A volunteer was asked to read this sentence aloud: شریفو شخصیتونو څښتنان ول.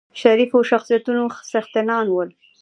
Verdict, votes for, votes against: accepted, 2, 0